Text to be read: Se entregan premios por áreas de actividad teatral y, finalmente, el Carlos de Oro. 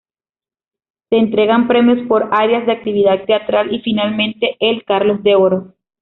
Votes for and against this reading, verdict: 2, 1, accepted